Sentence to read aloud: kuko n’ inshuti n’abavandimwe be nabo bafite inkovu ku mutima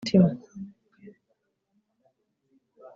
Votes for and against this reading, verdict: 0, 2, rejected